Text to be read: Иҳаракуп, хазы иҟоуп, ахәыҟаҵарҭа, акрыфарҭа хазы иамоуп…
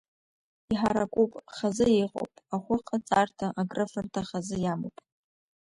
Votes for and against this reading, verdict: 2, 1, accepted